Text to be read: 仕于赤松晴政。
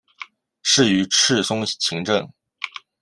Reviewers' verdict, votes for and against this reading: accepted, 2, 1